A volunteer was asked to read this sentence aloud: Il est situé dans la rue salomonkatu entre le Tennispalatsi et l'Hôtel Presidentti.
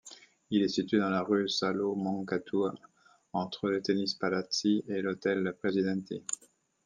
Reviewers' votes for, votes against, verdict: 1, 2, rejected